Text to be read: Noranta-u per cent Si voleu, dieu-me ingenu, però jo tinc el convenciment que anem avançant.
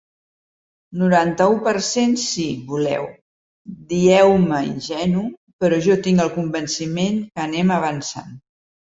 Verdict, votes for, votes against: rejected, 1, 2